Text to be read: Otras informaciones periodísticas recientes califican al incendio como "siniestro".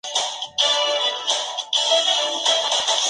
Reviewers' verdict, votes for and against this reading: rejected, 0, 2